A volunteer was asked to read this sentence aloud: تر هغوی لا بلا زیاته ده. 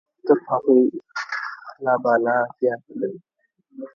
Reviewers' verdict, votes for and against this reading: rejected, 0, 2